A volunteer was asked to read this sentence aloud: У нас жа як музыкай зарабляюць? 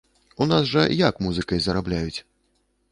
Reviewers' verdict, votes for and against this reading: accepted, 2, 0